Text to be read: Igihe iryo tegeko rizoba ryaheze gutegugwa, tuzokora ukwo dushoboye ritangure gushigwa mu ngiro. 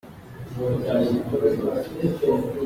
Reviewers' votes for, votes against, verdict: 0, 2, rejected